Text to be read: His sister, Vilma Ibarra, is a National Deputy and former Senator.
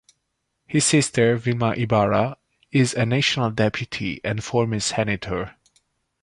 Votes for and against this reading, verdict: 2, 0, accepted